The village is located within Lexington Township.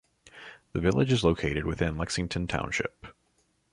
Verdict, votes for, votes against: accepted, 2, 0